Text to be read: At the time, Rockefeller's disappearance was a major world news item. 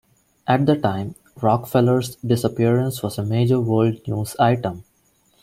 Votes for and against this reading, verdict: 2, 1, accepted